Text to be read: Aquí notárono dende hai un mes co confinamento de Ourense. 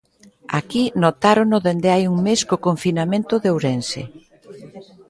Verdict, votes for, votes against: rejected, 1, 2